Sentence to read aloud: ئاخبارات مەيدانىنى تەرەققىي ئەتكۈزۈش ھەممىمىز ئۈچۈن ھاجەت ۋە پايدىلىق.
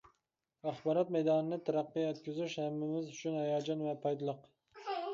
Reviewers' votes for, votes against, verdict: 0, 2, rejected